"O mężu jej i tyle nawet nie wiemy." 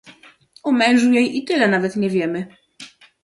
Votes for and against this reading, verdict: 2, 0, accepted